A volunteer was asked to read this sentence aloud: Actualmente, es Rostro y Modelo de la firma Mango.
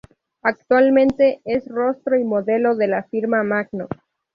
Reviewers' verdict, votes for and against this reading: accepted, 2, 0